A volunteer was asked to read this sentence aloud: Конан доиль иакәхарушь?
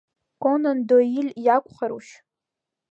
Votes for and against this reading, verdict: 1, 2, rejected